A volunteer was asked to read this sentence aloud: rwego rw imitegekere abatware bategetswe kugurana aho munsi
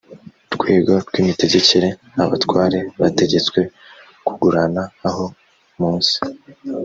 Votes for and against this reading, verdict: 0, 2, rejected